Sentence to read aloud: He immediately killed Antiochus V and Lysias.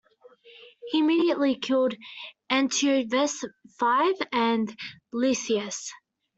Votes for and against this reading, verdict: 0, 2, rejected